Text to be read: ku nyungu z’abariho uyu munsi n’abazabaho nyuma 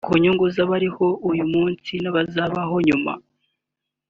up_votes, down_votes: 2, 0